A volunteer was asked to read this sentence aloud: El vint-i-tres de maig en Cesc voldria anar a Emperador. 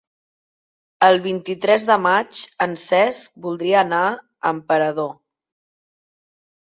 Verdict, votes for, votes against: accepted, 4, 0